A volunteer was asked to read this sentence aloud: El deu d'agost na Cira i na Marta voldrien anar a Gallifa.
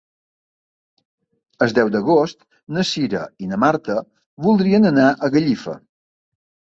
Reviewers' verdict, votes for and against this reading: rejected, 0, 2